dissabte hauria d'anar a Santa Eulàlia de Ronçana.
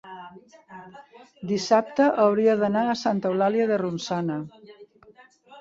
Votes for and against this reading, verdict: 2, 1, accepted